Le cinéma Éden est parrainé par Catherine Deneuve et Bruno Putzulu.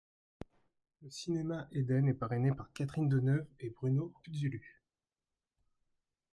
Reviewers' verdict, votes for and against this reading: rejected, 0, 2